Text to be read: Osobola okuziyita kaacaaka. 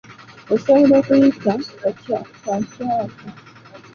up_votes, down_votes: 0, 2